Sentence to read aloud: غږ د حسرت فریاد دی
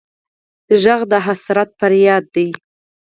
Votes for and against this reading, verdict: 4, 0, accepted